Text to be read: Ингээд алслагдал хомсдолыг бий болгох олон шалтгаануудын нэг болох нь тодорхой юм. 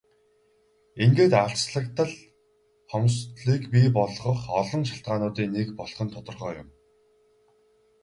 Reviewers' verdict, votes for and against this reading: rejected, 0, 2